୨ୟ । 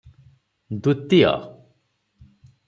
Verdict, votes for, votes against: rejected, 0, 2